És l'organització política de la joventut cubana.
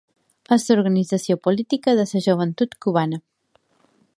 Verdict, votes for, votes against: rejected, 1, 2